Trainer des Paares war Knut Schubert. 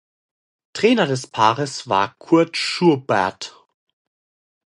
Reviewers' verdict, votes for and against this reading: rejected, 0, 2